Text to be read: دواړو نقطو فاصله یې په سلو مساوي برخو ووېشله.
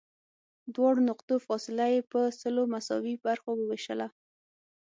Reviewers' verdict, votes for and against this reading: accepted, 6, 0